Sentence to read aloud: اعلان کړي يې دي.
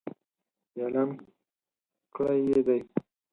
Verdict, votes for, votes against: rejected, 2, 4